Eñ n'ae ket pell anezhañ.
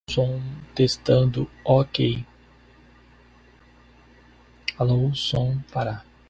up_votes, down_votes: 0, 2